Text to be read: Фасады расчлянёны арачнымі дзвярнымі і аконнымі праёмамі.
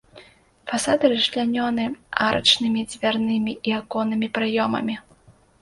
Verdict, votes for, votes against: accepted, 2, 0